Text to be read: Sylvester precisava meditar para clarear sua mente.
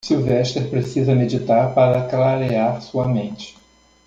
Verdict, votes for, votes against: rejected, 0, 2